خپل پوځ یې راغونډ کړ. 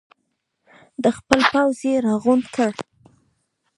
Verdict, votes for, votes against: accepted, 2, 0